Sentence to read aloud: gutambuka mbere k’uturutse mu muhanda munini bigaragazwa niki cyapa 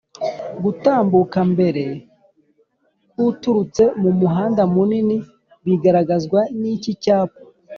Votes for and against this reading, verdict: 2, 0, accepted